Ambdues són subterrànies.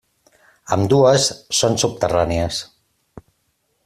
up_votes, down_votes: 3, 0